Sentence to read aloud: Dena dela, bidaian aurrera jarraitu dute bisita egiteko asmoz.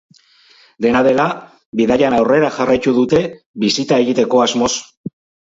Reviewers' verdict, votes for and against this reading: rejected, 2, 2